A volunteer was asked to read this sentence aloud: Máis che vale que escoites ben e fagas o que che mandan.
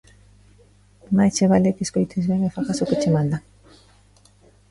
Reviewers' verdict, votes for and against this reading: rejected, 1, 2